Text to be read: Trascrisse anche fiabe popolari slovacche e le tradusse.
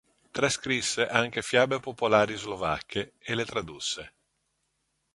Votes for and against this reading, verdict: 2, 0, accepted